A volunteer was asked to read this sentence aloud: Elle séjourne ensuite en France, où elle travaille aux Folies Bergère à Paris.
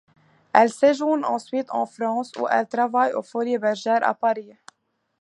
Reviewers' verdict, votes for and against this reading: accepted, 2, 0